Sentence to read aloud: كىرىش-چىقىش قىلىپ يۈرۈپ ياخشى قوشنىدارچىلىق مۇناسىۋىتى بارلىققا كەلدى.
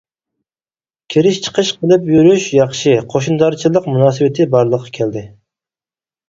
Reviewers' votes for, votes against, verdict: 0, 4, rejected